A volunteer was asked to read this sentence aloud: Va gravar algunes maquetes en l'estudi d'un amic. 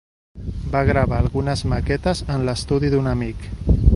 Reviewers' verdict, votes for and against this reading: accepted, 2, 1